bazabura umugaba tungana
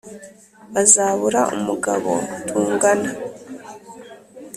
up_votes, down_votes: 1, 2